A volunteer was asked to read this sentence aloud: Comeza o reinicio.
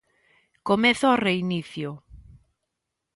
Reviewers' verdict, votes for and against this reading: accepted, 2, 0